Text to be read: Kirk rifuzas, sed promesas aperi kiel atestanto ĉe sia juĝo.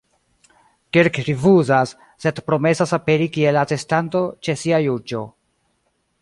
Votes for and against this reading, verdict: 1, 2, rejected